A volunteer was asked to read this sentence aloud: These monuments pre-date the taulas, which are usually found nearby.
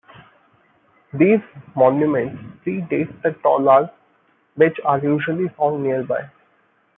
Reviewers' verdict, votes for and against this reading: accepted, 2, 0